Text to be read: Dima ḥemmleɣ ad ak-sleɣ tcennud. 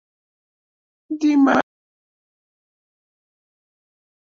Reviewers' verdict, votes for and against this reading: rejected, 0, 2